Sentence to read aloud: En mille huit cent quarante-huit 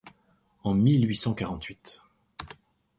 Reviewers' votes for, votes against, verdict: 2, 0, accepted